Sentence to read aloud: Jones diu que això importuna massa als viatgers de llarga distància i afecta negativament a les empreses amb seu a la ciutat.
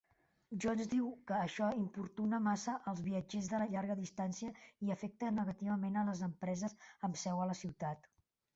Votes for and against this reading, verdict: 1, 2, rejected